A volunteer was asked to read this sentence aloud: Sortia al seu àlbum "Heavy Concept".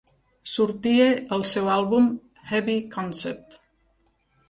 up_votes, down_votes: 2, 0